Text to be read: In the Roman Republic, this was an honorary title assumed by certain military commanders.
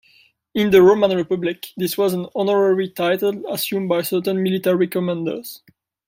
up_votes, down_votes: 2, 0